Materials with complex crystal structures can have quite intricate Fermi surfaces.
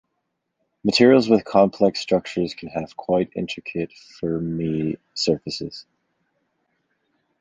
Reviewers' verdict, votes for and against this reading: rejected, 1, 2